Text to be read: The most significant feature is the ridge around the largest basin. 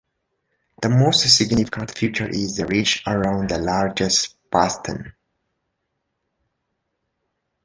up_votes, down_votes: 2, 1